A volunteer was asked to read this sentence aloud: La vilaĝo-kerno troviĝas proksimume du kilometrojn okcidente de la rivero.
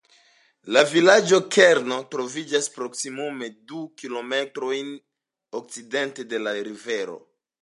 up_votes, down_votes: 2, 0